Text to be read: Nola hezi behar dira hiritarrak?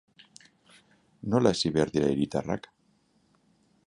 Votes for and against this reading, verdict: 6, 0, accepted